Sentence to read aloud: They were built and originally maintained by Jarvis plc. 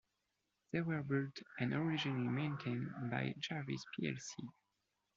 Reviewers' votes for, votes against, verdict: 2, 0, accepted